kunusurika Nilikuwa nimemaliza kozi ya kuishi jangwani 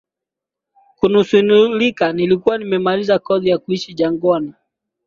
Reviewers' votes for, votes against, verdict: 5, 2, accepted